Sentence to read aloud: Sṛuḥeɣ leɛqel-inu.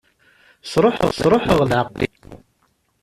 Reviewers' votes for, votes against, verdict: 0, 2, rejected